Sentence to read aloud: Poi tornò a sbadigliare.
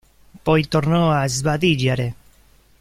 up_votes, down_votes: 0, 2